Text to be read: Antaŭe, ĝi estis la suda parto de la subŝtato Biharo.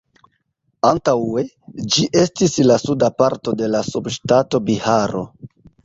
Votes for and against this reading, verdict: 1, 2, rejected